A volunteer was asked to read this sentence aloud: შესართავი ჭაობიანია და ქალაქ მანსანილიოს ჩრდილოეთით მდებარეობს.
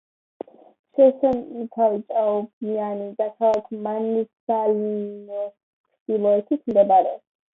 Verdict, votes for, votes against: rejected, 0, 2